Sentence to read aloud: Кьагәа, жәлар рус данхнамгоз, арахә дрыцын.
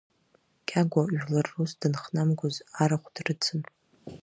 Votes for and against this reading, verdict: 1, 2, rejected